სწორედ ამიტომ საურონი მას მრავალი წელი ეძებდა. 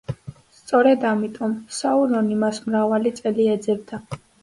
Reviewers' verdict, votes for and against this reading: accepted, 2, 0